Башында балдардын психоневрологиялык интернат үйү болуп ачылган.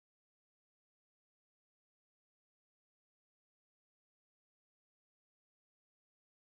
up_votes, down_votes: 1, 2